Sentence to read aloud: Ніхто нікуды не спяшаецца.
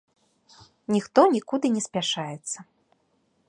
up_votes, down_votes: 2, 0